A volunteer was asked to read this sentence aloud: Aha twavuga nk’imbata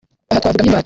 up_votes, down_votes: 1, 2